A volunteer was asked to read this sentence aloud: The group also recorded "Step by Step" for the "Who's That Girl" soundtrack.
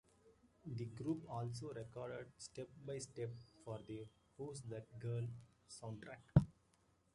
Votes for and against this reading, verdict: 2, 0, accepted